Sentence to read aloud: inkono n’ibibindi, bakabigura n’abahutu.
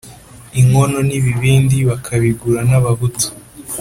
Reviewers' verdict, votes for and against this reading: accepted, 2, 0